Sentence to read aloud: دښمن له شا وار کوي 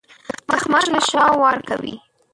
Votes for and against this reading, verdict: 1, 2, rejected